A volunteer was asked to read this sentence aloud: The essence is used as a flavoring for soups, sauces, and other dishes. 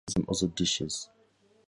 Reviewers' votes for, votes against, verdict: 0, 4, rejected